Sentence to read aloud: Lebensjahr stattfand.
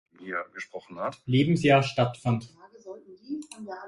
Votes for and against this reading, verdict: 0, 2, rejected